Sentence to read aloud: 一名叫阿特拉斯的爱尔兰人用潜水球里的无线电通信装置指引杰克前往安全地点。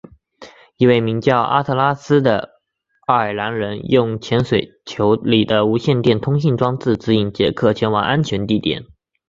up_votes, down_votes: 2, 0